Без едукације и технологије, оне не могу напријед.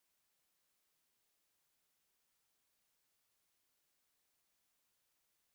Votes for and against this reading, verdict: 0, 2, rejected